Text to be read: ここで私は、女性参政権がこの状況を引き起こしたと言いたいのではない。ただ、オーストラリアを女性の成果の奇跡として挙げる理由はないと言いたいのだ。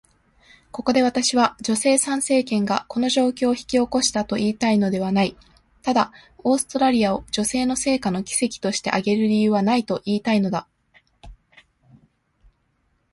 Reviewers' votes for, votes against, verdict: 2, 0, accepted